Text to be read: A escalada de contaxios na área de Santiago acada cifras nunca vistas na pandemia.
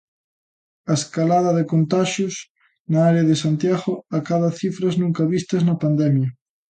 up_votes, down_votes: 2, 0